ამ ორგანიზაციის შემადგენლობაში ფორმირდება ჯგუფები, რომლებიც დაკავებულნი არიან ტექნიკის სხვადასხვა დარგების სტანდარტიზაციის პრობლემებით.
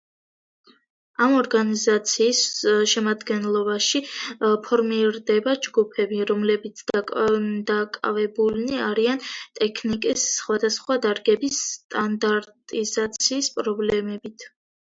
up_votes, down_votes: 1, 2